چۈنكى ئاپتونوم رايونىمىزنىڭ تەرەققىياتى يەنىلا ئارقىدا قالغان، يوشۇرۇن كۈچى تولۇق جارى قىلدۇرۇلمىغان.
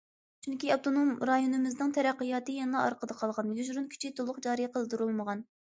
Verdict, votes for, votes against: accepted, 2, 0